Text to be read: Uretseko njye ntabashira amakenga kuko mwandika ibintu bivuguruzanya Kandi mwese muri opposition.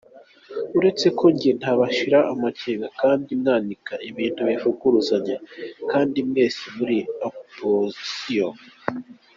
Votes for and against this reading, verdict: 0, 2, rejected